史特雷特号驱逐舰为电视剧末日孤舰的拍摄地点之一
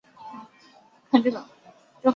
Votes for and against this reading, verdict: 0, 3, rejected